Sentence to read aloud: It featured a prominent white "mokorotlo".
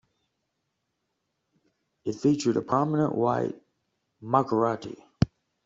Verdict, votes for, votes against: rejected, 0, 2